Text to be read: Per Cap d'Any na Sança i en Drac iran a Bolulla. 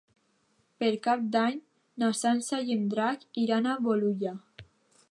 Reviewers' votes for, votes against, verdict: 2, 0, accepted